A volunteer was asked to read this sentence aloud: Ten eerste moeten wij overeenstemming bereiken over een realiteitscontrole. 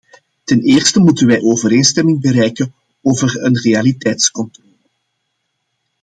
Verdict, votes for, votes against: accepted, 2, 1